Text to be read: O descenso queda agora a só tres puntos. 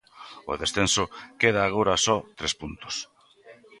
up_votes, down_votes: 2, 0